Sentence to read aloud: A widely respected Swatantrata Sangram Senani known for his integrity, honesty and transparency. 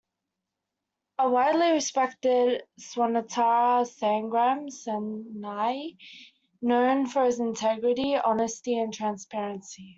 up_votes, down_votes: 1, 2